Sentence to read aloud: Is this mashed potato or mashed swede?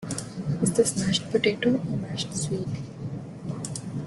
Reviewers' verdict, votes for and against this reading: rejected, 0, 2